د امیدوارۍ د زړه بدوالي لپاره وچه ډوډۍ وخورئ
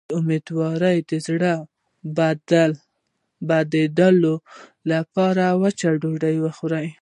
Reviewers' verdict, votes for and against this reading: rejected, 1, 2